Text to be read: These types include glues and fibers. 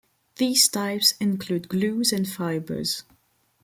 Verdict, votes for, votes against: accepted, 2, 0